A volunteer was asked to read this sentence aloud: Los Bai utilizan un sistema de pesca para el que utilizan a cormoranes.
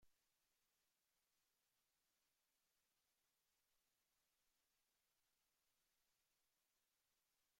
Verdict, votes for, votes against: rejected, 0, 2